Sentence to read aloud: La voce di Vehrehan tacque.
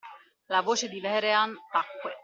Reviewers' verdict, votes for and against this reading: accepted, 2, 1